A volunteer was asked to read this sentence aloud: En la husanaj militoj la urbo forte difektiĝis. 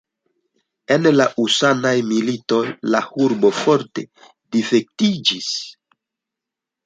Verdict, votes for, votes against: rejected, 1, 2